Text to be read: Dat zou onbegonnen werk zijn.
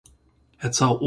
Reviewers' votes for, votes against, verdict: 0, 2, rejected